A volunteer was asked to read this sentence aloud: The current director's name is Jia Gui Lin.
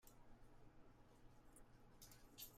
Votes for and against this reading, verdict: 0, 2, rejected